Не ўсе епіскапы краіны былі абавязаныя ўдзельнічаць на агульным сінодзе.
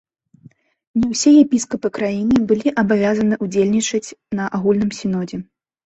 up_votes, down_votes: 2, 1